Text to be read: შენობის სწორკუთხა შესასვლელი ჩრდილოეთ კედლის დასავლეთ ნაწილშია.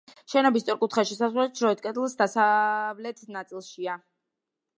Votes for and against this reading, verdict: 1, 2, rejected